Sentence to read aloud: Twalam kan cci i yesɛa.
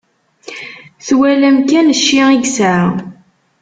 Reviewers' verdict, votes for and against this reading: accepted, 2, 0